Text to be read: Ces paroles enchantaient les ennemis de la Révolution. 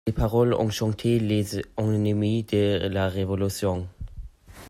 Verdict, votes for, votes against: rejected, 0, 2